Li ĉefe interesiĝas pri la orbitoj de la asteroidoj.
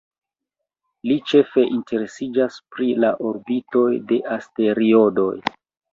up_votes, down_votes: 2, 1